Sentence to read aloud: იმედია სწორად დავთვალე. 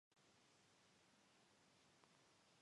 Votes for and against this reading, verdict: 1, 2, rejected